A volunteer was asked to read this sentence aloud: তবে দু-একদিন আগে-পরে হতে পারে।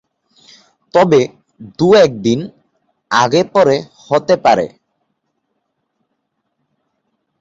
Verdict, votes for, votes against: rejected, 0, 2